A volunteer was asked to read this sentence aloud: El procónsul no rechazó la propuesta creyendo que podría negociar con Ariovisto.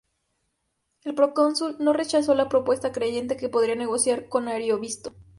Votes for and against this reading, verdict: 2, 0, accepted